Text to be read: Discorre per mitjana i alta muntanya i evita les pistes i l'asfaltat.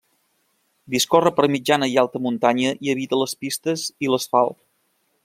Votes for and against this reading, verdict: 1, 3, rejected